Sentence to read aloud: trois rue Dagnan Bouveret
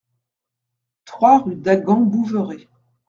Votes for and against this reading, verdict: 1, 2, rejected